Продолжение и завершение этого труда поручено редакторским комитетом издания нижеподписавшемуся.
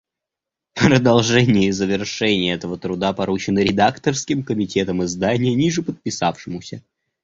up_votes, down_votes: 2, 0